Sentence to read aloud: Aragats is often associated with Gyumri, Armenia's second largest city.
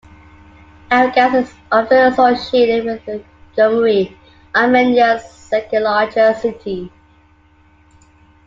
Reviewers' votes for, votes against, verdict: 1, 2, rejected